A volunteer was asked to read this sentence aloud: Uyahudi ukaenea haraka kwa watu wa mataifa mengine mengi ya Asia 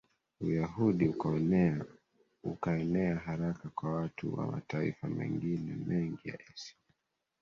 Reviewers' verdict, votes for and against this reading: accepted, 3, 1